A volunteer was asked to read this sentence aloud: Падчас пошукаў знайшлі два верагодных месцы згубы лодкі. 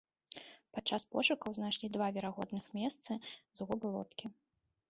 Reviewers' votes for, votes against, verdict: 2, 0, accepted